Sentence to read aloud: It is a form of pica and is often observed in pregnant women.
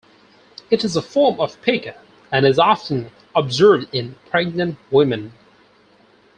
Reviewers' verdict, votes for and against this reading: accepted, 4, 0